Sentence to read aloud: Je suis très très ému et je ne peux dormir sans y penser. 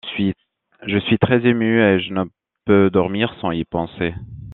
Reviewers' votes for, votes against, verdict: 0, 2, rejected